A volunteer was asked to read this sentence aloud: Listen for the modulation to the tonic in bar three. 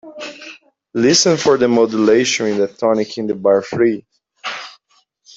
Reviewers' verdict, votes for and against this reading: rejected, 0, 2